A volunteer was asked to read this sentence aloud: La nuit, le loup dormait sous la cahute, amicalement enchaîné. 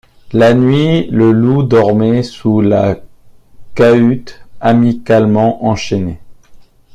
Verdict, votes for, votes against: accepted, 2, 1